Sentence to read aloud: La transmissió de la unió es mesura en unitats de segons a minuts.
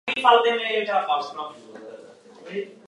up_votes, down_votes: 0, 3